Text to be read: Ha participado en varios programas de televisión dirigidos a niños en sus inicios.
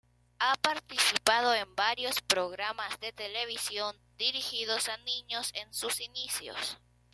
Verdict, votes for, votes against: accepted, 2, 0